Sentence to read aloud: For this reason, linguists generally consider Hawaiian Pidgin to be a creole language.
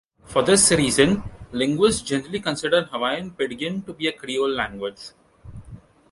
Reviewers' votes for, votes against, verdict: 1, 2, rejected